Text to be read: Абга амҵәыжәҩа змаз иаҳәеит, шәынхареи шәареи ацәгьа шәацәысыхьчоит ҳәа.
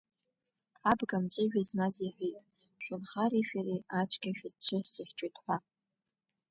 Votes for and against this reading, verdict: 2, 0, accepted